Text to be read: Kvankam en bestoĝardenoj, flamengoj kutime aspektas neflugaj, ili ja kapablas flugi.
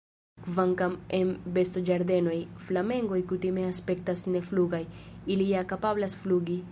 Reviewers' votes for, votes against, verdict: 3, 0, accepted